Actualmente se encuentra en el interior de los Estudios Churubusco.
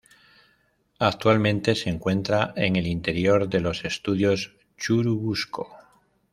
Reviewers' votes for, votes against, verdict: 2, 0, accepted